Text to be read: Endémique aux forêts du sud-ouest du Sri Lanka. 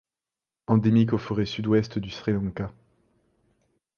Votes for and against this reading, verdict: 1, 2, rejected